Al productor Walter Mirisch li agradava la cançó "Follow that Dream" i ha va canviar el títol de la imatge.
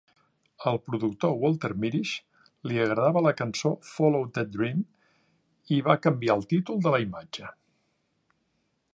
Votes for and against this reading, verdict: 2, 1, accepted